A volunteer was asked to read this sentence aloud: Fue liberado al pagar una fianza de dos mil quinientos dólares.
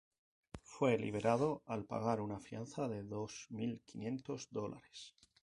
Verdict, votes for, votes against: rejected, 0, 2